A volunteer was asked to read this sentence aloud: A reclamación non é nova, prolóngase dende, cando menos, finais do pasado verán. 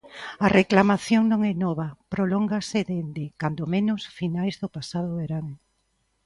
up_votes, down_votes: 2, 0